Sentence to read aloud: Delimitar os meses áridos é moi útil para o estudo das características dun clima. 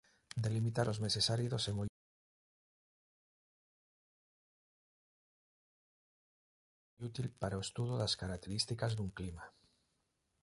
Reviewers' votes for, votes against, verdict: 0, 2, rejected